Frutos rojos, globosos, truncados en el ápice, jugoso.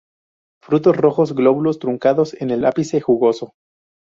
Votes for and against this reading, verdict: 0, 2, rejected